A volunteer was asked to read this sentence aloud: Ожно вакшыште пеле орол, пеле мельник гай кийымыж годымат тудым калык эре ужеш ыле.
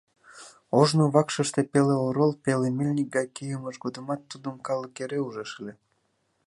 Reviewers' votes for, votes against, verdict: 2, 0, accepted